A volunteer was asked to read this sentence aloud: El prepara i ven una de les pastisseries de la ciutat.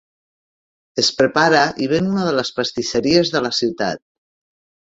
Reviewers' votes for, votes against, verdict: 1, 2, rejected